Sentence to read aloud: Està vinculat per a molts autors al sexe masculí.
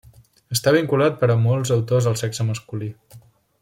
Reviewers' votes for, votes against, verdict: 3, 0, accepted